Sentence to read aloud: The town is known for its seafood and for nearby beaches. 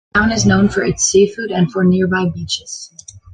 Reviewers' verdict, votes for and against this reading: accepted, 2, 0